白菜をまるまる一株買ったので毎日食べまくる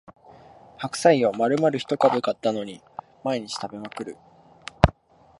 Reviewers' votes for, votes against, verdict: 1, 2, rejected